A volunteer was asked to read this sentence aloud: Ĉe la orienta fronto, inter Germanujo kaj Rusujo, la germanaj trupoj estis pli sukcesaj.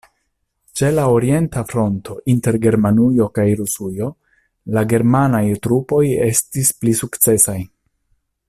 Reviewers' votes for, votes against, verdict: 2, 0, accepted